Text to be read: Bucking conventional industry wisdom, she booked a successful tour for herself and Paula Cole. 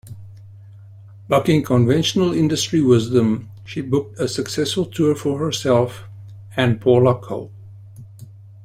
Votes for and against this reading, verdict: 2, 0, accepted